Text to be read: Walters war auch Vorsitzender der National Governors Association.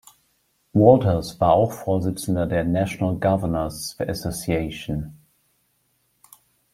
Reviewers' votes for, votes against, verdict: 2, 1, accepted